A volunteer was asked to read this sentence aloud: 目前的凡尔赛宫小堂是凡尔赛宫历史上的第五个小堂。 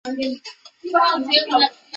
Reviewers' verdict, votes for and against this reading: rejected, 0, 2